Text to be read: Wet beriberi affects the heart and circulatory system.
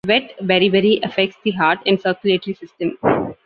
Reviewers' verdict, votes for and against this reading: accepted, 2, 0